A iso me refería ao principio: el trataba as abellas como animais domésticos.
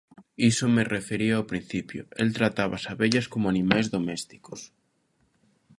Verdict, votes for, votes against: rejected, 0, 3